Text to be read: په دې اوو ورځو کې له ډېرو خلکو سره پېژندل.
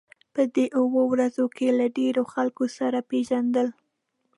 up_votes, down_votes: 2, 0